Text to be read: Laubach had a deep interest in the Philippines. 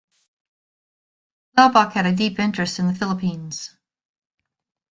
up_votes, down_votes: 2, 0